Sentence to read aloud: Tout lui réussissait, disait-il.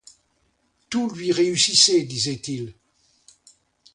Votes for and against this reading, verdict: 2, 0, accepted